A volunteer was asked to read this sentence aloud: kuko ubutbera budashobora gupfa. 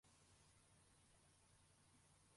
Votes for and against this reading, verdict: 0, 2, rejected